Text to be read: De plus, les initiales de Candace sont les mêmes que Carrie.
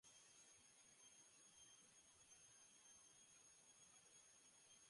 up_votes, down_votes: 0, 2